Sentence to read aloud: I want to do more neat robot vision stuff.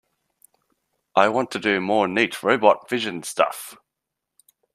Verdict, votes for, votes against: accepted, 2, 0